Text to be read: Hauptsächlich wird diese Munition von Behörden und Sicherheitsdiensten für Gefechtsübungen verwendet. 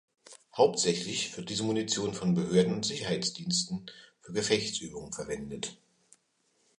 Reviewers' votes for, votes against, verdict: 2, 0, accepted